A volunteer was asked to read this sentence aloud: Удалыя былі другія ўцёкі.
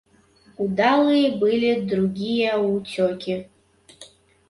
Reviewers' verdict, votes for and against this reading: accepted, 3, 0